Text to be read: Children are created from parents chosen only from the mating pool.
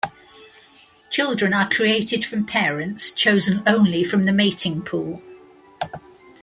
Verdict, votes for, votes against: rejected, 1, 2